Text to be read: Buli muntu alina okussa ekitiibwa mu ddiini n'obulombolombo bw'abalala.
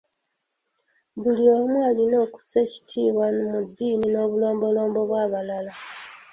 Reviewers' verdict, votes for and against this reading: rejected, 1, 2